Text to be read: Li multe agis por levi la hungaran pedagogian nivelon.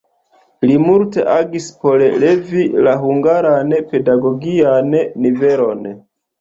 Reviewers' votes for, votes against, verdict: 2, 0, accepted